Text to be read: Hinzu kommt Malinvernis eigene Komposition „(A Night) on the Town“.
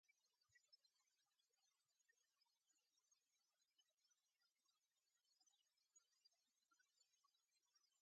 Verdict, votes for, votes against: rejected, 0, 2